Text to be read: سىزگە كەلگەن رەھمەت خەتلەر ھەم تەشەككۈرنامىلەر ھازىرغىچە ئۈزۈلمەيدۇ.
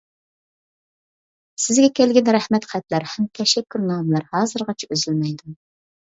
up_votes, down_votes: 2, 1